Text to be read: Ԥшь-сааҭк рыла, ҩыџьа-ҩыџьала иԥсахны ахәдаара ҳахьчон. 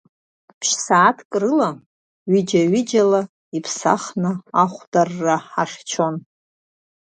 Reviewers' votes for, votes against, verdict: 0, 2, rejected